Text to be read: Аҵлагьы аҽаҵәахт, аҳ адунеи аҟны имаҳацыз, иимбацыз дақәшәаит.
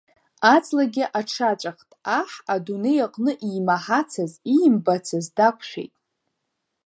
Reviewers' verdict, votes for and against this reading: rejected, 0, 2